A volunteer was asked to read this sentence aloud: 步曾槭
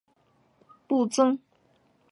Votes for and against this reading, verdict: 1, 3, rejected